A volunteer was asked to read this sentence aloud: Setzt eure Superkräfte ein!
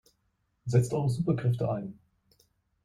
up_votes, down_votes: 2, 0